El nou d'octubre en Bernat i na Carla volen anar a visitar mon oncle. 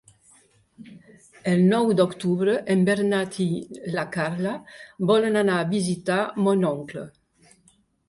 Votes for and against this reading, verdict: 2, 1, accepted